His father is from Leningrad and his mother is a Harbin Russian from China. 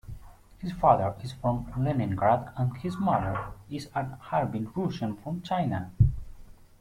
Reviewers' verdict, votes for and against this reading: accepted, 2, 1